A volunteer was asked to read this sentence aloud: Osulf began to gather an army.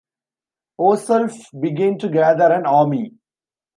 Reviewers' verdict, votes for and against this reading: rejected, 1, 2